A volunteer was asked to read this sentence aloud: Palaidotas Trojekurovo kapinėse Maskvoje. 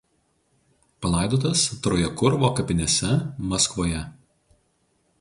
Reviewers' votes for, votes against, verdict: 2, 2, rejected